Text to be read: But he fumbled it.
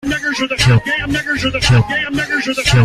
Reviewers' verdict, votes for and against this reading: rejected, 0, 2